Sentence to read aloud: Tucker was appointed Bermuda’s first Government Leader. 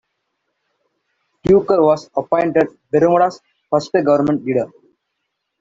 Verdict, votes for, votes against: rejected, 1, 2